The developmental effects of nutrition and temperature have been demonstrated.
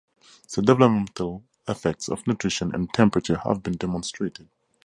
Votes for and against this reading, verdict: 2, 2, rejected